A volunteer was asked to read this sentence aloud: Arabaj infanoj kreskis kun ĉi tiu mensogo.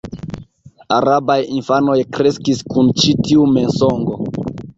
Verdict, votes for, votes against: accepted, 2, 0